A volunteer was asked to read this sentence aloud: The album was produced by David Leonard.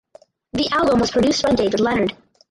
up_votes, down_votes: 0, 2